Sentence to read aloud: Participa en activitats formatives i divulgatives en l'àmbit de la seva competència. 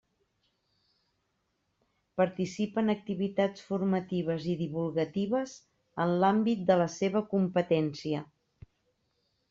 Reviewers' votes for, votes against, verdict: 3, 0, accepted